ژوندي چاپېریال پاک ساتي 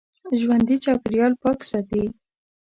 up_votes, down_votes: 2, 1